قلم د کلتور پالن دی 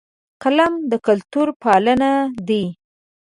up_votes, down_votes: 0, 2